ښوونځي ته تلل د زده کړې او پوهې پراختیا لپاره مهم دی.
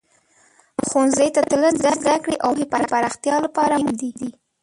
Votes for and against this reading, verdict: 1, 2, rejected